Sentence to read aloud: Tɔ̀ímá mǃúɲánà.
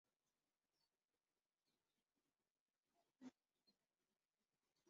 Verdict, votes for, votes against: rejected, 0, 3